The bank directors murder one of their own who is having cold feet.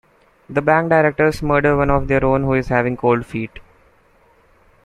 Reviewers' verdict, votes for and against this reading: rejected, 0, 2